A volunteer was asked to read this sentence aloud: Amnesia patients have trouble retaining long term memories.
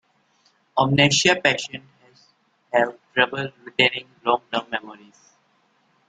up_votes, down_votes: 1, 2